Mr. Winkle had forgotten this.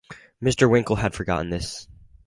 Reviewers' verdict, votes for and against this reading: accepted, 2, 0